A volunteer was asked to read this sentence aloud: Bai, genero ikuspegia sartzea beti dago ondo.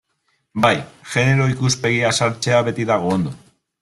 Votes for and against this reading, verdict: 3, 0, accepted